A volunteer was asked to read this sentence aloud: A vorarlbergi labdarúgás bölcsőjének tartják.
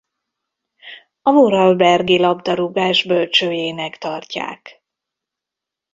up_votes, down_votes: 1, 2